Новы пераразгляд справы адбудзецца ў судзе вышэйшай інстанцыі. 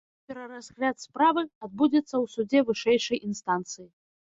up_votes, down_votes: 1, 2